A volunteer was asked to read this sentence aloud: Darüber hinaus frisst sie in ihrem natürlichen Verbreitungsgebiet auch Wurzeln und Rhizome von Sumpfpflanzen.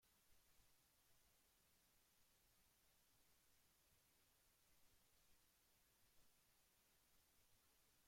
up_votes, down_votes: 0, 2